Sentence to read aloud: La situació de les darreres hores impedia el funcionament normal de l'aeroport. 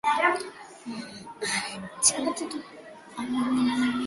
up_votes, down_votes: 0, 2